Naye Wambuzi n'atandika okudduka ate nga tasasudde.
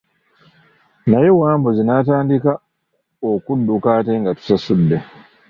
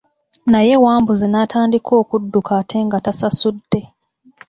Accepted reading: second